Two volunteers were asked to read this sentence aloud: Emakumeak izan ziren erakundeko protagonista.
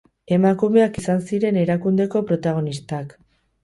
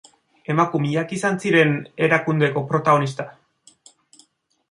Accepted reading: second